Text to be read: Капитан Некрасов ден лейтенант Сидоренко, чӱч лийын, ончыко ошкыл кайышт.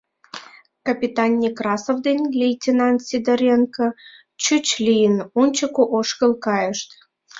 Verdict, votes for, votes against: accepted, 3, 0